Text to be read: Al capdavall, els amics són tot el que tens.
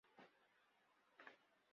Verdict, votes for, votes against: rejected, 0, 2